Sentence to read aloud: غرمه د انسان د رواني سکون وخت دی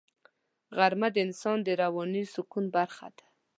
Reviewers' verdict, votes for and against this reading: rejected, 1, 2